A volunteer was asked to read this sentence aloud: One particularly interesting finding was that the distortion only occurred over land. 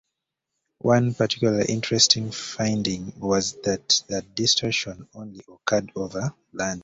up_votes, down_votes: 2, 1